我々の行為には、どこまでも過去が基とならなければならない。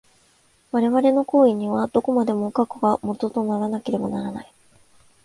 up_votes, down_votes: 2, 0